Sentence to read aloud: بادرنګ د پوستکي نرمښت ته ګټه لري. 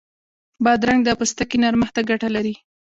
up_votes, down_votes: 2, 0